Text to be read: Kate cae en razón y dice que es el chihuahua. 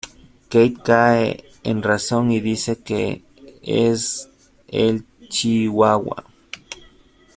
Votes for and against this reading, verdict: 1, 2, rejected